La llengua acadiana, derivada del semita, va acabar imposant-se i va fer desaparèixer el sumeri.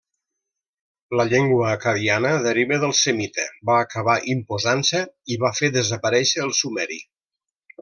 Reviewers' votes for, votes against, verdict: 0, 2, rejected